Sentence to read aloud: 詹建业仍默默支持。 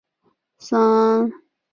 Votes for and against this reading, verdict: 0, 2, rejected